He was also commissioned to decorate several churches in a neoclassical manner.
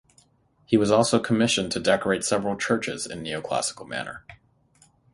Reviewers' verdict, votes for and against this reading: accepted, 6, 3